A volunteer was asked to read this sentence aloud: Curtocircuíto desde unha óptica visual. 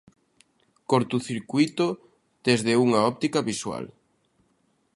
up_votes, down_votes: 1, 2